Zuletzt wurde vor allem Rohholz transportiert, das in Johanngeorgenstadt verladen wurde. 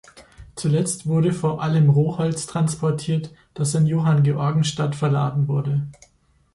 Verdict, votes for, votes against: accepted, 2, 0